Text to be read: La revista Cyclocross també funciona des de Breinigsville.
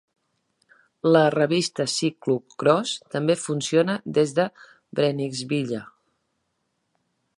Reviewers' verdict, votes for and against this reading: rejected, 1, 2